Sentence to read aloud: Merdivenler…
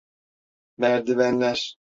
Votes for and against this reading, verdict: 2, 0, accepted